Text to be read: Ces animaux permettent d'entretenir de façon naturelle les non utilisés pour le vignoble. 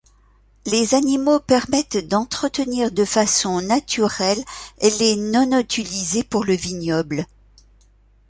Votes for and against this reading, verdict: 0, 2, rejected